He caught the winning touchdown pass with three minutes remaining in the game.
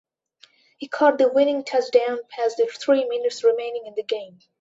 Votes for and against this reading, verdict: 2, 0, accepted